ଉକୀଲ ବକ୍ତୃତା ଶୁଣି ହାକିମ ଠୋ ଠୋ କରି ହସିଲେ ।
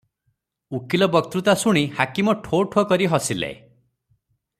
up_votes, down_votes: 3, 0